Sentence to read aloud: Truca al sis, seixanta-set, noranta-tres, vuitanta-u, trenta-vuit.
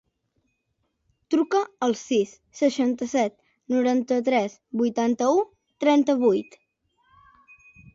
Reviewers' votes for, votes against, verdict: 2, 0, accepted